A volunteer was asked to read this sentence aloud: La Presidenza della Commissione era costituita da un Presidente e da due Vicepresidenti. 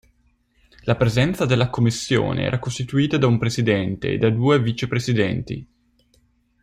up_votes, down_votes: 1, 2